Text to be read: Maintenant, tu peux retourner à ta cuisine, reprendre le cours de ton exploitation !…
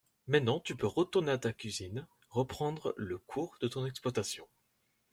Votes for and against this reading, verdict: 2, 0, accepted